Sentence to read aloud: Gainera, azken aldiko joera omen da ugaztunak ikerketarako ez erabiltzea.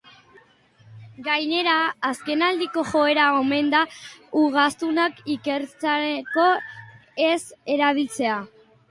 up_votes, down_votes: 0, 2